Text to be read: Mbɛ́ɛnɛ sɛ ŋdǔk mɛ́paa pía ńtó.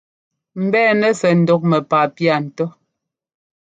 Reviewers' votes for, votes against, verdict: 2, 0, accepted